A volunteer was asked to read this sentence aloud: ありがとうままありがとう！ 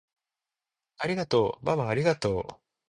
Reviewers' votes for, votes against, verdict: 2, 0, accepted